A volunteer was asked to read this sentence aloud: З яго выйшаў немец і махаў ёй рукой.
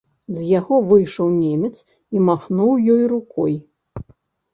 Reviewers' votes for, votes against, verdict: 1, 2, rejected